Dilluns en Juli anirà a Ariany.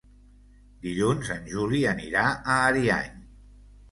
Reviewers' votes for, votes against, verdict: 3, 0, accepted